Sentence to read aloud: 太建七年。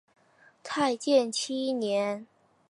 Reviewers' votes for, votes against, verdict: 2, 0, accepted